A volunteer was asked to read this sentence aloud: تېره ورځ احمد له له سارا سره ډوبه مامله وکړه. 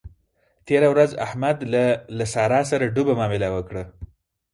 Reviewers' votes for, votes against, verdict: 2, 4, rejected